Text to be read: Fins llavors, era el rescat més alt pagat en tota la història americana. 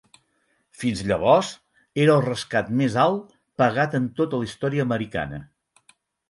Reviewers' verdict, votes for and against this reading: accepted, 8, 0